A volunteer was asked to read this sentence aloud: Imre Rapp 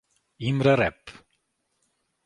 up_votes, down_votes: 2, 0